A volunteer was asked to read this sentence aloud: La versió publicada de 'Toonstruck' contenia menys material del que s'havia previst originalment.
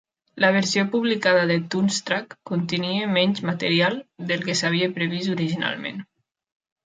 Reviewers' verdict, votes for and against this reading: accepted, 2, 0